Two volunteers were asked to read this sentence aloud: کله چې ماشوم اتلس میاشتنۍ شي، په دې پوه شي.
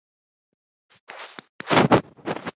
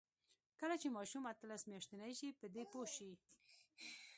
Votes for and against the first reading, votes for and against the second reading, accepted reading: 0, 2, 2, 0, second